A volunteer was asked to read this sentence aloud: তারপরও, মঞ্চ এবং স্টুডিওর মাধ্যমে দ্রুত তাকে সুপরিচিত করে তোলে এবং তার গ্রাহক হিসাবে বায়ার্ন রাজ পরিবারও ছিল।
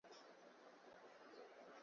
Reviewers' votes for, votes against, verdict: 0, 3, rejected